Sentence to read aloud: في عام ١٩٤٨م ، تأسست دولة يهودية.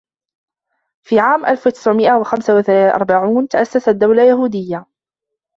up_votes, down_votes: 0, 2